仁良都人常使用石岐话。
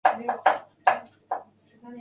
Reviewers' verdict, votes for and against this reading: rejected, 0, 2